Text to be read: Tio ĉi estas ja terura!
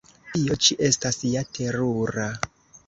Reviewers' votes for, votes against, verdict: 1, 2, rejected